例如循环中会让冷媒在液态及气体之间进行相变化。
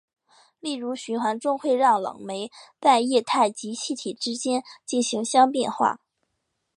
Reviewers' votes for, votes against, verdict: 4, 0, accepted